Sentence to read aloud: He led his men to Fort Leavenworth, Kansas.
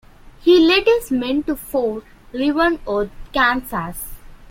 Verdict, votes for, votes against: rejected, 1, 2